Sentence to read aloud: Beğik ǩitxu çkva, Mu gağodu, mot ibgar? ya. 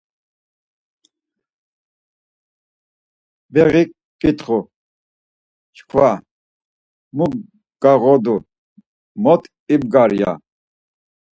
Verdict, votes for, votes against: accepted, 4, 0